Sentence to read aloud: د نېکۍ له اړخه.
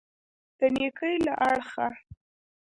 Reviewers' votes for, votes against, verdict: 0, 2, rejected